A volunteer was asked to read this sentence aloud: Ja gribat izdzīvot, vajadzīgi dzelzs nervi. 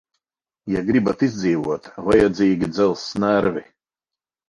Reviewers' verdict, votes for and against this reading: accepted, 6, 0